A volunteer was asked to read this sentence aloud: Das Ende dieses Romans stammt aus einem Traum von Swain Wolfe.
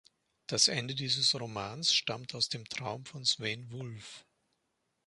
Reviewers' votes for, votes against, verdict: 1, 2, rejected